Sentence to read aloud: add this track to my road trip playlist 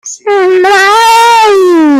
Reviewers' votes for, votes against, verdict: 0, 2, rejected